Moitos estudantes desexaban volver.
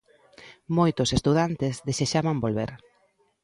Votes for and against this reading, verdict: 2, 0, accepted